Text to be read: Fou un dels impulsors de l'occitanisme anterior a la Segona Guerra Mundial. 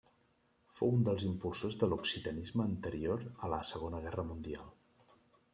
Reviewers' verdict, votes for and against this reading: accepted, 3, 0